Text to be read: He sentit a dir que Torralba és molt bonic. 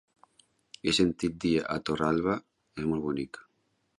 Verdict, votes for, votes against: rejected, 0, 2